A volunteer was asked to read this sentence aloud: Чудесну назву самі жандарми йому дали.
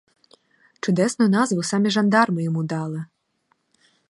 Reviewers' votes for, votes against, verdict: 0, 2, rejected